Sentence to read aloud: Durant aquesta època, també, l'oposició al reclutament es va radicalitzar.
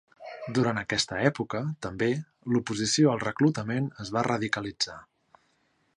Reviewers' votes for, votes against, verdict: 3, 0, accepted